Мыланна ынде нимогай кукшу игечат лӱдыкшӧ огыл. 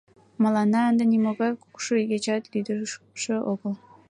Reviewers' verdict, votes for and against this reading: accepted, 2, 0